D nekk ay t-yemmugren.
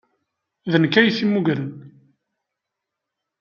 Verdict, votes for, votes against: accepted, 2, 0